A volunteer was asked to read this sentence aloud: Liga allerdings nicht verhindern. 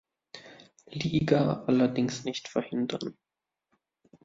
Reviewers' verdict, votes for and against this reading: accepted, 2, 0